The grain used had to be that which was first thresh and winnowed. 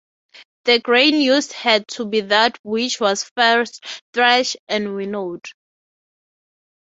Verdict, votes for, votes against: accepted, 3, 0